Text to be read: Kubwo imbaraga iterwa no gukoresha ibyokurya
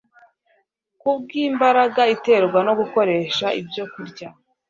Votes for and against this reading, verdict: 2, 0, accepted